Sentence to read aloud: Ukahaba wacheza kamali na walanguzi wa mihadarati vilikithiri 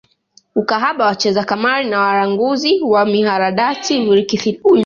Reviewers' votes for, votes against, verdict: 0, 2, rejected